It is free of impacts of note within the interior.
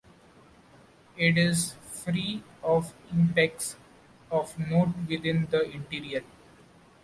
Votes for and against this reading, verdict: 1, 2, rejected